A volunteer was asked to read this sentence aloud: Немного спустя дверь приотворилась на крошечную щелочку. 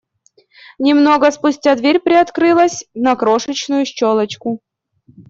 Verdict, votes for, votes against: rejected, 1, 2